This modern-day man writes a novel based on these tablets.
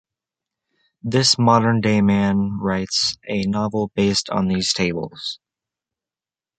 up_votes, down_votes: 0, 3